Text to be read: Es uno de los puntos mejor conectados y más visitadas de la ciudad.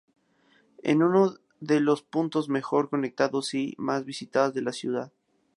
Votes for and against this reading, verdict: 2, 0, accepted